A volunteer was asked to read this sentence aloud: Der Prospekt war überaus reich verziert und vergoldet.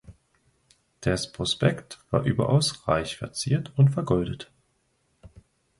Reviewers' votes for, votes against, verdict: 0, 2, rejected